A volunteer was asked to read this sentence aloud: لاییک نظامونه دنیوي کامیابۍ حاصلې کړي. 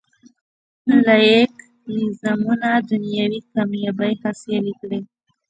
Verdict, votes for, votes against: rejected, 1, 2